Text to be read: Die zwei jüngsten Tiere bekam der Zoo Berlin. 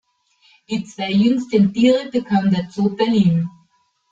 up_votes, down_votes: 2, 0